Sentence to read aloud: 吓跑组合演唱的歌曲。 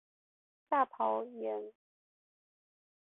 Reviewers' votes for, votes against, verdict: 0, 5, rejected